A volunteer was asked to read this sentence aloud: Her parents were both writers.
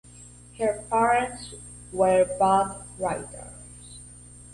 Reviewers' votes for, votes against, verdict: 2, 0, accepted